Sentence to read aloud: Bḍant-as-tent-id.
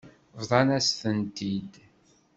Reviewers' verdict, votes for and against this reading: rejected, 1, 2